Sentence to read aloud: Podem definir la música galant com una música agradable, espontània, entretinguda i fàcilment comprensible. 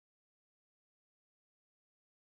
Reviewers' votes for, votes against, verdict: 0, 2, rejected